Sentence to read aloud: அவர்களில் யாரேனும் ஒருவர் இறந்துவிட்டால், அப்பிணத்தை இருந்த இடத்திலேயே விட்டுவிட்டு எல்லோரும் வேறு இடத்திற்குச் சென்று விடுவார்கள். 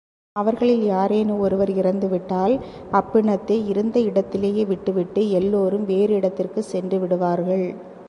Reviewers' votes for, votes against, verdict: 2, 0, accepted